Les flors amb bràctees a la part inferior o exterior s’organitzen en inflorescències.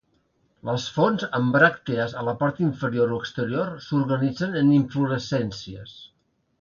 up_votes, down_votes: 0, 2